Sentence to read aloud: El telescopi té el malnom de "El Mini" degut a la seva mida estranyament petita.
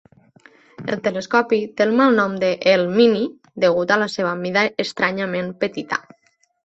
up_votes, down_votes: 2, 1